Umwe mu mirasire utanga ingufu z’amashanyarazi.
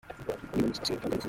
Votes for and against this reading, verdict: 0, 2, rejected